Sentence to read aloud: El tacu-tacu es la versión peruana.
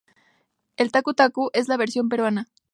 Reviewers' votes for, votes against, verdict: 2, 0, accepted